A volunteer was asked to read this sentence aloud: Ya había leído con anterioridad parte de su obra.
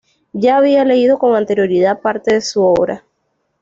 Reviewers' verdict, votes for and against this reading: accepted, 2, 0